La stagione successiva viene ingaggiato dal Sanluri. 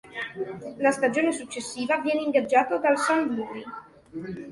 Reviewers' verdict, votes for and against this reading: accepted, 2, 0